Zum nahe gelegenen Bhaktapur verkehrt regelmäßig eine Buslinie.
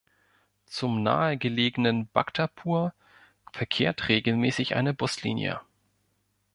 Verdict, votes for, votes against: accepted, 2, 0